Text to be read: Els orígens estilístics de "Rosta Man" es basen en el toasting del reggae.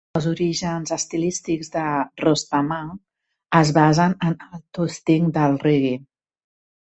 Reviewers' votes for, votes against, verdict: 0, 2, rejected